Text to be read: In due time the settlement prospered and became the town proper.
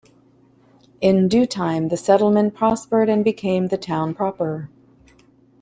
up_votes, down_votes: 2, 0